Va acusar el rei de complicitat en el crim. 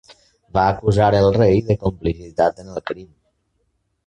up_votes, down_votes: 3, 0